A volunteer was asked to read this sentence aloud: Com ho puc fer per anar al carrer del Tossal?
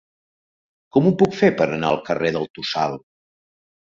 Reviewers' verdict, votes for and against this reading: accepted, 2, 0